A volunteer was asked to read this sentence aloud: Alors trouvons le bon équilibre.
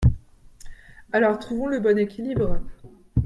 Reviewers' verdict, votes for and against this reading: accepted, 2, 0